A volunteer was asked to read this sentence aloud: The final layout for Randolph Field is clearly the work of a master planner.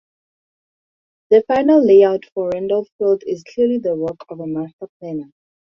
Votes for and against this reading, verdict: 2, 0, accepted